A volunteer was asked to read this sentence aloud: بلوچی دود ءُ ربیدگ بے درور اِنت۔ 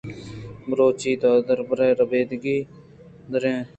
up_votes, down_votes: 0, 2